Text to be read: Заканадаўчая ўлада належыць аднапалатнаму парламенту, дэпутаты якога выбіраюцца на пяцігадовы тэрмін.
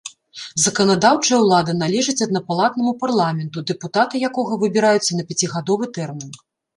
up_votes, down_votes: 3, 0